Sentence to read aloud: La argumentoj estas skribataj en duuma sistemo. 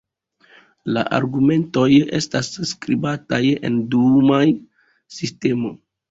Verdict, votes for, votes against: rejected, 1, 2